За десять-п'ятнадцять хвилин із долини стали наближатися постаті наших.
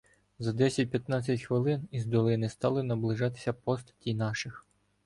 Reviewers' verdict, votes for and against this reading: accepted, 2, 0